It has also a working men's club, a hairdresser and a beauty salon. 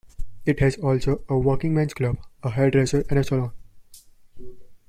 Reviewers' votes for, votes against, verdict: 0, 2, rejected